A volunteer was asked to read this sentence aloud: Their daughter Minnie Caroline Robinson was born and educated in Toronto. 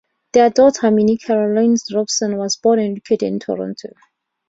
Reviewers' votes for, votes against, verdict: 0, 2, rejected